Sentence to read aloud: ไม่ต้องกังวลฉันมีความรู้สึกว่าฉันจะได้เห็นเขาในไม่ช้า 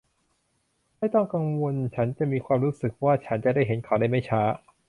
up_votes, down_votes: 1, 2